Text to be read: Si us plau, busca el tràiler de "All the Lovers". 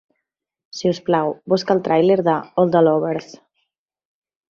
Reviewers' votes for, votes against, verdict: 3, 0, accepted